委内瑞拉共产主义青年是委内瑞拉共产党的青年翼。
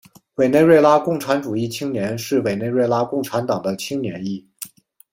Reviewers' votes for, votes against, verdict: 2, 0, accepted